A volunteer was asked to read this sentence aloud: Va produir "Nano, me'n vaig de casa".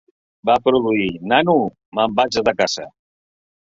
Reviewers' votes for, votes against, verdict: 0, 2, rejected